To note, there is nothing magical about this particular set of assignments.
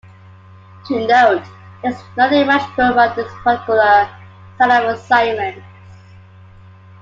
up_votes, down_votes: 2, 1